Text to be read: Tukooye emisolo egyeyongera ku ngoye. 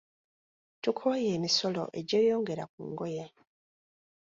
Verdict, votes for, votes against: accepted, 2, 0